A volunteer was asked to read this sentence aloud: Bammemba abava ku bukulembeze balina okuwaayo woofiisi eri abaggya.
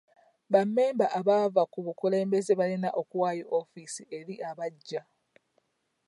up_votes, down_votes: 2, 0